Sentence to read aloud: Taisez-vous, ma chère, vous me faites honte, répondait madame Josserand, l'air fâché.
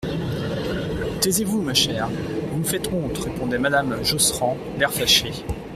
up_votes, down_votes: 2, 0